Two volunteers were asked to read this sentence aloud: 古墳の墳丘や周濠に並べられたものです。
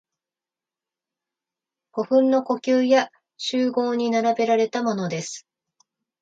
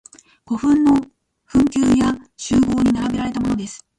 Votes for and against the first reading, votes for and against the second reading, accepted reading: 2, 0, 1, 2, first